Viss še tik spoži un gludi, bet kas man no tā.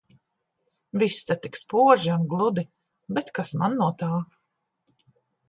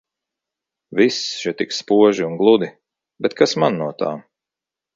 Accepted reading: second